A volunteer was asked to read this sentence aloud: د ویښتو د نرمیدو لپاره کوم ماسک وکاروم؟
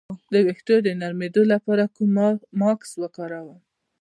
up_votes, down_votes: 0, 2